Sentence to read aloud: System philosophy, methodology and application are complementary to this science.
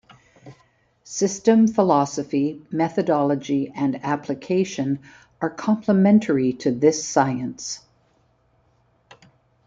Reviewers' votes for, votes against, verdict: 2, 1, accepted